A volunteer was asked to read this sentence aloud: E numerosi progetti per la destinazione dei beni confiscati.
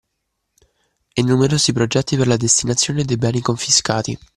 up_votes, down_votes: 2, 0